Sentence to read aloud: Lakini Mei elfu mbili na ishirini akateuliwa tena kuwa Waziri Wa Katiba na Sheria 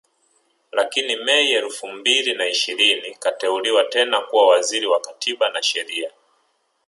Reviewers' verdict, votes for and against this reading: accepted, 4, 0